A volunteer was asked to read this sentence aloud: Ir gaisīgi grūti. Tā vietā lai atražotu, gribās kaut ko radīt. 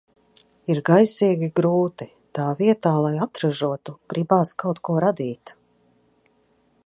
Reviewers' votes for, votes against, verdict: 2, 0, accepted